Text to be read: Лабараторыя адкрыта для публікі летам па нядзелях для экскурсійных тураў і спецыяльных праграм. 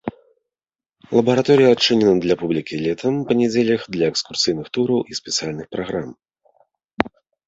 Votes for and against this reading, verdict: 1, 2, rejected